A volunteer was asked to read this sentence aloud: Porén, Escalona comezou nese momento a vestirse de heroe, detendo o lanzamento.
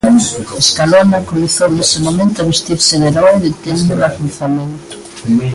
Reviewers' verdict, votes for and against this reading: rejected, 0, 2